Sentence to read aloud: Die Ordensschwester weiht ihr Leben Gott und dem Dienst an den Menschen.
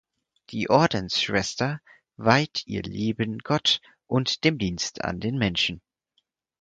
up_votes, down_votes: 6, 0